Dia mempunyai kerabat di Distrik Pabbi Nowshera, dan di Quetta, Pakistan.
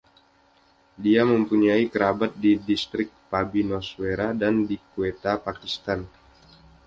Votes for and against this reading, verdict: 2, 0, accepted